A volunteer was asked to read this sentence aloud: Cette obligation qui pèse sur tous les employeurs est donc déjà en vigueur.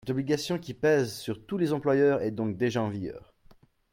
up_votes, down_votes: 2, 3